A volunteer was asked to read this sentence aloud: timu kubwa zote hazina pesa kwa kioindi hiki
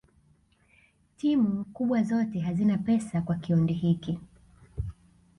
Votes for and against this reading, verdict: 3, 1, accepted